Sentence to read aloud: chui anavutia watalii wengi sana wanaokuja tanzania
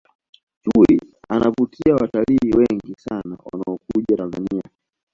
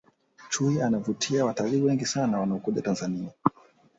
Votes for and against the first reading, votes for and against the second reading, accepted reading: 0, 2, 2, 0, second